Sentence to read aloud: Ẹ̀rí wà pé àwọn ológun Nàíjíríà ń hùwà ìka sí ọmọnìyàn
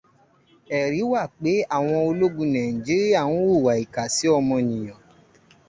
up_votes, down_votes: 2, 0